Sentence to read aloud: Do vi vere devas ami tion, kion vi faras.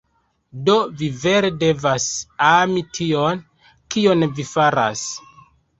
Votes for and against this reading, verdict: 1, 2, rejected